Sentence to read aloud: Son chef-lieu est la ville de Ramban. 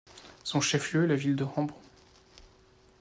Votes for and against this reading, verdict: 1, 2, rejected